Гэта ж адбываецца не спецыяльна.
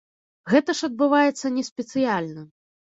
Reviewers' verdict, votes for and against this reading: accepted, 2, 0